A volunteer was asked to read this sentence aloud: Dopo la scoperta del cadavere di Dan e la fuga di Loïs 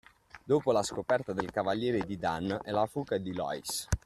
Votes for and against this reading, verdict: 0, 2, rejected